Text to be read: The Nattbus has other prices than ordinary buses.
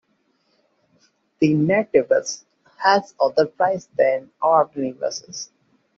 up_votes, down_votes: 1, 2